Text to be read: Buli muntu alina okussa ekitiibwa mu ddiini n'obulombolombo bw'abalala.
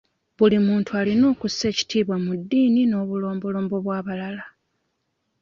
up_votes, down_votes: 2, 0